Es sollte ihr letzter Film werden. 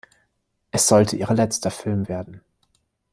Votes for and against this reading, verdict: 0, 2, rejected